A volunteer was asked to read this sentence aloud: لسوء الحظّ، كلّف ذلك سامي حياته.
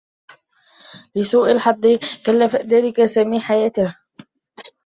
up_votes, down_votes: 1, 2